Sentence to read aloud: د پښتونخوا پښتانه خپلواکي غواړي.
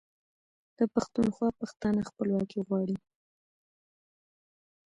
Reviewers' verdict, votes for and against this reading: accepted, 2, 0